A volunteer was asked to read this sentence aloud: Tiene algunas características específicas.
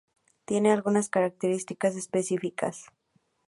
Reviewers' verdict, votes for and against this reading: accepted, 2, 0